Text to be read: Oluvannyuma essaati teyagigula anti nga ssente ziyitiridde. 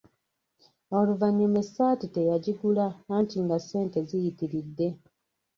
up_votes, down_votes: 0, 2